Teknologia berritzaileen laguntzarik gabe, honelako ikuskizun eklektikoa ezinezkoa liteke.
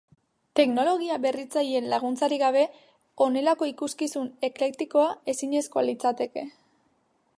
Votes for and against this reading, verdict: 0, 2, rejected